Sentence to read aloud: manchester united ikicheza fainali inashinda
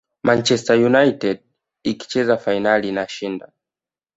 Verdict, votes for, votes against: accepted, 2, 0